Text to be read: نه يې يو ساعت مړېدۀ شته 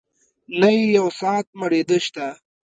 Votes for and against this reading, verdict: 1, 2, rejected